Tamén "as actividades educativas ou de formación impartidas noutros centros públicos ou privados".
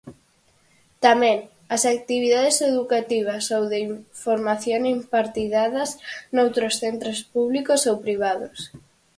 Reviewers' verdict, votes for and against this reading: rejected, 0, 4